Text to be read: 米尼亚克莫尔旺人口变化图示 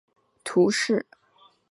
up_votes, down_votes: 0, 3